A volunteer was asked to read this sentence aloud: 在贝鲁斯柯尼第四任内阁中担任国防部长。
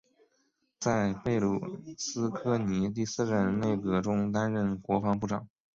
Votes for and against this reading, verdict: 2, 1, accepted